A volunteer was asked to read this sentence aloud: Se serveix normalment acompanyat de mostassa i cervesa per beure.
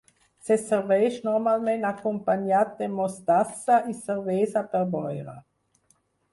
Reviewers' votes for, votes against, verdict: 0, 4, rejected